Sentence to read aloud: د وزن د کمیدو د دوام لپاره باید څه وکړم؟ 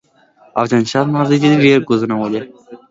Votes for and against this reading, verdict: 0, 2, rejected